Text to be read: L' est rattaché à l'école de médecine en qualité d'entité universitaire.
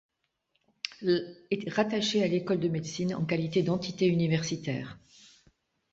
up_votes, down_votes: 0, 2